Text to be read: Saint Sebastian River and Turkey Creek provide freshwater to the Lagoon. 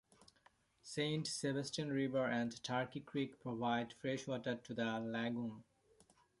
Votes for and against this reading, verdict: 2, 1, accepted